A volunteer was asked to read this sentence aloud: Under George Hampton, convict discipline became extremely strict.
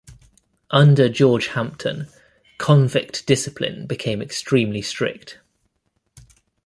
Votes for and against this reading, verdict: 2, 0, accepted